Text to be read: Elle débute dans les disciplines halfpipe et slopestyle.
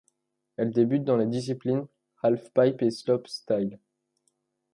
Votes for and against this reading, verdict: 1, 2, rejected